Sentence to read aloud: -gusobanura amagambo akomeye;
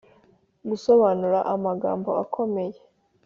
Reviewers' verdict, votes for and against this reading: accepted, 5, 0